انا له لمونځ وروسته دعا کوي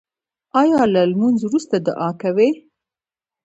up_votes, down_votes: 1, 2